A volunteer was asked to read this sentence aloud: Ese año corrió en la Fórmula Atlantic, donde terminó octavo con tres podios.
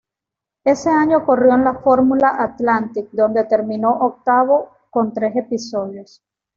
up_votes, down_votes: 1, 2